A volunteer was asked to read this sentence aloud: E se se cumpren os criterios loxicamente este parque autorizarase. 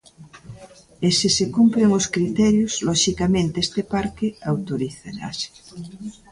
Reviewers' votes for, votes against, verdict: 2, 0, accepted